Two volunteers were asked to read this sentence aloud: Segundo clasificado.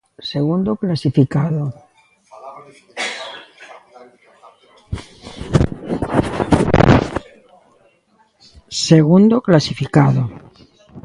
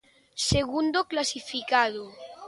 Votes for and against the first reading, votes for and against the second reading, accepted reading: 0, 2, 2, 0, second